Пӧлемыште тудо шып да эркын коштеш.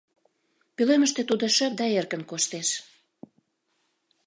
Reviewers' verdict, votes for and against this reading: accepted, 2, 0